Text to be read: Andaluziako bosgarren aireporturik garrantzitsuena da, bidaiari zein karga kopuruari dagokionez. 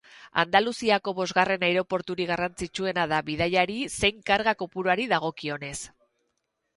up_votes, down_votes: 6, 0